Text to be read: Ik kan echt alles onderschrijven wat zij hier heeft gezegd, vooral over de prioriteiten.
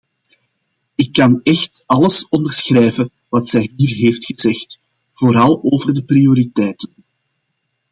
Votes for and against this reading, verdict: 2, 0, accepted